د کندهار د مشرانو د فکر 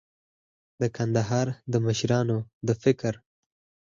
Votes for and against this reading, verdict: 2, 4, rejected